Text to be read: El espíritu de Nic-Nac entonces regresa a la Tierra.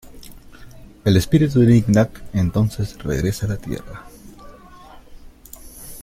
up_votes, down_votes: 2, 0